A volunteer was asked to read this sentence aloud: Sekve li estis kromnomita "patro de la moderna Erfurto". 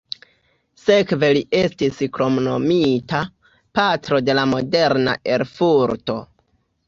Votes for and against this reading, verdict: 2, 0, accepted